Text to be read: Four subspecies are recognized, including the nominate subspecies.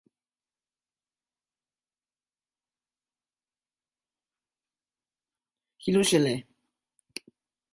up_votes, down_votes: 0, 2